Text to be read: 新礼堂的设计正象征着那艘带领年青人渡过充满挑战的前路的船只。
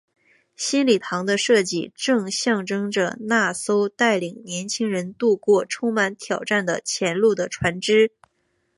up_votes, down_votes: 3, 1